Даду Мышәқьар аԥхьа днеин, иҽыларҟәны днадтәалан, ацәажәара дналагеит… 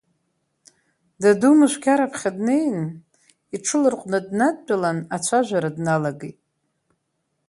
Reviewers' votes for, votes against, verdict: 2, 0, accepted